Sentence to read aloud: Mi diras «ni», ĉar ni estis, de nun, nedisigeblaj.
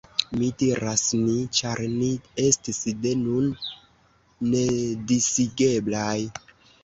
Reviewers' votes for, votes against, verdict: 2, 1, accepted